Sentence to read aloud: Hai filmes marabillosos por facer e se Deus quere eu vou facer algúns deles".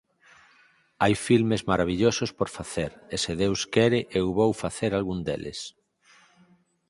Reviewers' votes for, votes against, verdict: 0, 4, rejected